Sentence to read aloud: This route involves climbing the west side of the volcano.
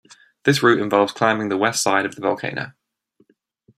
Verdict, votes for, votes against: accepted, 2, 0